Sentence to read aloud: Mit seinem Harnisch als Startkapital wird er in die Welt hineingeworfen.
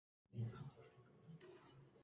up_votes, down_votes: 0, 2